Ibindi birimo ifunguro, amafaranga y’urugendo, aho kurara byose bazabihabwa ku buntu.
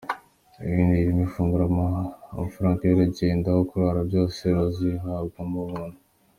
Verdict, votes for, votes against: rejected, 1, 3